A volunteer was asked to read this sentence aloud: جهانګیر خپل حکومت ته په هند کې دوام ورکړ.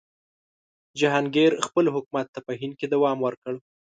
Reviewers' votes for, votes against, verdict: 2, 0, accepted